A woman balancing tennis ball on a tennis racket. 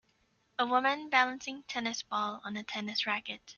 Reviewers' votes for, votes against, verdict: 2, 0, accepted